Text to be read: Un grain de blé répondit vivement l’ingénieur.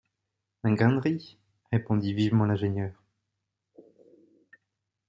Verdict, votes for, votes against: rejected, 1, 2